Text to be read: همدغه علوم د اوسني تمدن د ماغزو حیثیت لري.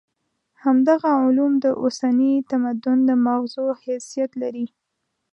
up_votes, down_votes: 2, 0